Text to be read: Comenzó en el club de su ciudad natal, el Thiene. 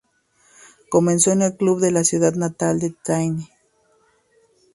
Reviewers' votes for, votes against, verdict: 0, 2, rejected